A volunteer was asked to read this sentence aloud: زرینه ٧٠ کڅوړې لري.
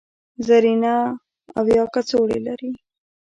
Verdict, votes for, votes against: rejected, 0, 2